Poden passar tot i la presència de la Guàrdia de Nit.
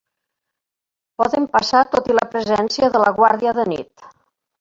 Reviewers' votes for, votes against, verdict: 1, 2, rejected